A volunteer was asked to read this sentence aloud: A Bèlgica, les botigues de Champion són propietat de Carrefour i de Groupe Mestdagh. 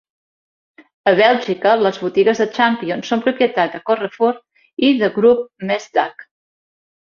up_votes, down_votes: 2, 1